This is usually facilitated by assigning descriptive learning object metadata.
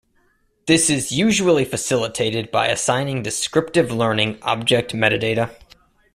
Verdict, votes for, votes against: accepted, 2, 0